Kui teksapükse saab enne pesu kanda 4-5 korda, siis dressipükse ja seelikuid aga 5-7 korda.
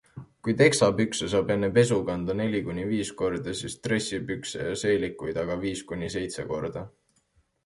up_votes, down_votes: 0, 2